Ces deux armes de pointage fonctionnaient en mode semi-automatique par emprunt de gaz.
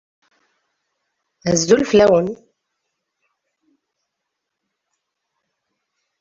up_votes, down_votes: 0, 2